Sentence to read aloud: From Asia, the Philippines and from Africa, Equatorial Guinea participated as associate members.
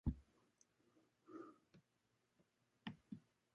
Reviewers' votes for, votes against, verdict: 0, 2, rejected